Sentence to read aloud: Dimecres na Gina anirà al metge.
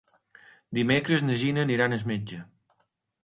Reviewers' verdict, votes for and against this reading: accepted, 2, 0